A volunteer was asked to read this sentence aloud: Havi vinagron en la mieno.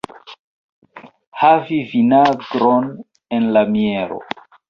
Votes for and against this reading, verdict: 2, 0, accepted